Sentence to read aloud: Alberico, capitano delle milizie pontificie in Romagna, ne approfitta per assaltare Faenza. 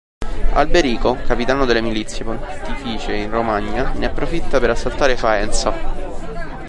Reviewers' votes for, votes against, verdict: 0, 2, rejected